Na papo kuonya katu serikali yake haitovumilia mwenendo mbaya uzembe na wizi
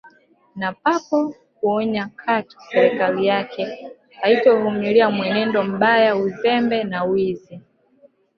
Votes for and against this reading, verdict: 3, 4, rejected